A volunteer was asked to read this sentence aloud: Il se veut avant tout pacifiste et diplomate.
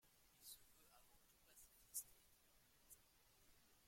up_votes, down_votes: 1, 2